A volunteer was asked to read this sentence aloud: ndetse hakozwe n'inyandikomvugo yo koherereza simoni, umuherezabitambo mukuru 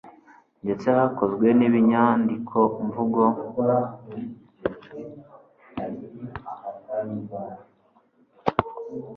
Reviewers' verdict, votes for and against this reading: rejected, 1, 2